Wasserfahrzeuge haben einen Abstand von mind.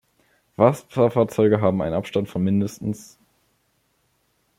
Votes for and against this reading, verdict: 1, 2, rejected